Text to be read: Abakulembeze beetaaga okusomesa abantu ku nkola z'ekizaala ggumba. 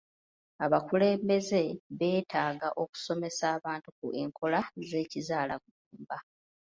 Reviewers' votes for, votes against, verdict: 0, 2, rejected